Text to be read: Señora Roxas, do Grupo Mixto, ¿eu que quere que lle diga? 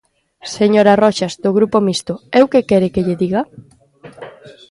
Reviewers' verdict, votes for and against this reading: rejected, 0, 2